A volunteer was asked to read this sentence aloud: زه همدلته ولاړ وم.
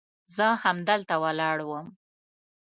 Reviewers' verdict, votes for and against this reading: accepted, 2, 0